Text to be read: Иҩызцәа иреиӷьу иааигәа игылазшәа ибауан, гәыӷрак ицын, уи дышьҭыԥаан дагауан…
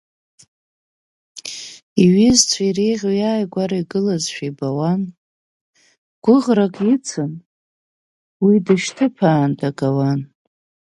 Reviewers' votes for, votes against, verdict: 4, 2, accepted